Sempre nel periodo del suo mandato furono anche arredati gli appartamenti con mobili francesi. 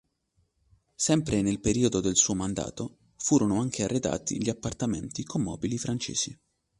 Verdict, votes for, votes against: accepted, 2, 0